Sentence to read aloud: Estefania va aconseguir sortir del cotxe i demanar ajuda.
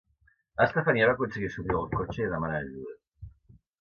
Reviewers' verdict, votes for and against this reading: rejected, 1, 2